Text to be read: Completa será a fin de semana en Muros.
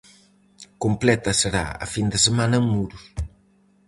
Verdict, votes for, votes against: rejected, 2, 2